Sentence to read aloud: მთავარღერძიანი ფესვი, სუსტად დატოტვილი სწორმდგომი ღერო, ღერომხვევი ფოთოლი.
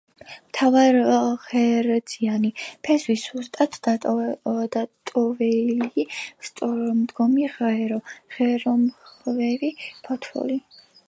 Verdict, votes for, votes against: rejected, 0, 2